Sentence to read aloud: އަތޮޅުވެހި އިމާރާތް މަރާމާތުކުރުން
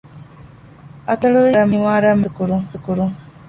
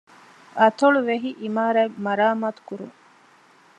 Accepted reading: second